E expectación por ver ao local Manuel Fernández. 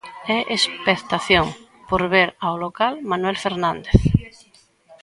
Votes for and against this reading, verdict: 2, 0, accepted